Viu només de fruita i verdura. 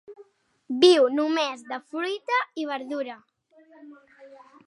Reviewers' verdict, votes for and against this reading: accepted, 3, 1